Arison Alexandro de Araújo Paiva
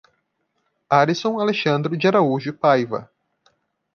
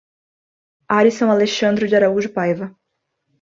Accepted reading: second